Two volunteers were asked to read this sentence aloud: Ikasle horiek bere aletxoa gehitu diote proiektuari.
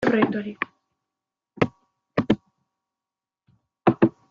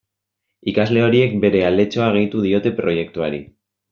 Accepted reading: second